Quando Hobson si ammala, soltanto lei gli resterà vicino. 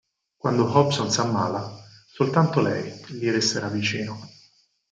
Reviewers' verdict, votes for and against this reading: accepted, 4, 2